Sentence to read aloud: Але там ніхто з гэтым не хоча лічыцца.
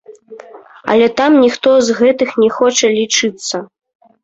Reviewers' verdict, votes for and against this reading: rejected, 0, 2